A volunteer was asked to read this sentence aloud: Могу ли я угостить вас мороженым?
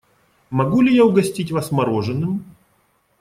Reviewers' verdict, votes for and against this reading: accepted, 2, 0